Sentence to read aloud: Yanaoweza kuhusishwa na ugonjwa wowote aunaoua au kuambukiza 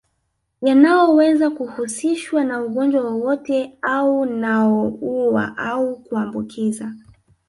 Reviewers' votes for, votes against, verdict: 1, 2, rejected